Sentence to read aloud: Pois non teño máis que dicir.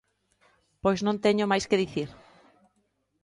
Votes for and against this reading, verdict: 2, 0, accepted